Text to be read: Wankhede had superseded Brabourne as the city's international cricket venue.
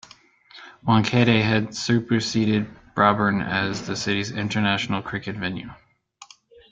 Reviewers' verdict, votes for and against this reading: rejected, 1, 2